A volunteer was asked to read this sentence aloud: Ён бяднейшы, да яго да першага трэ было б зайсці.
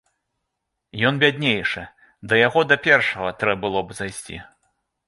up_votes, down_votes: 2, 0